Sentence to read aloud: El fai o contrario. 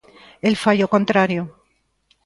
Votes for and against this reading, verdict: 2, 0, accepted